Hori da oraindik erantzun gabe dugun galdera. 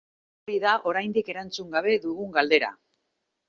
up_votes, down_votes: 0, 2